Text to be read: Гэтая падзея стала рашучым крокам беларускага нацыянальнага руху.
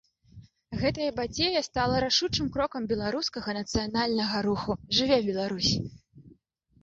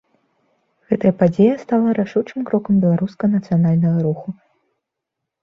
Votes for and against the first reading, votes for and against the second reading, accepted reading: 0, 2, 2, 0, second